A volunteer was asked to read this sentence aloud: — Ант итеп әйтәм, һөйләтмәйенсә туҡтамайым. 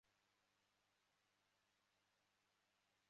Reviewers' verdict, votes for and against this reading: rejected, 0, 2